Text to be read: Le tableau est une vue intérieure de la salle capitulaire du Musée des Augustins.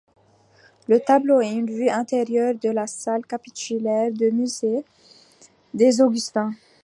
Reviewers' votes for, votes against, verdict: 2, 0, accepted